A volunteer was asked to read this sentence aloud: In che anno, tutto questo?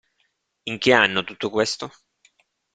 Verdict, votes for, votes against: accepted, 2, 0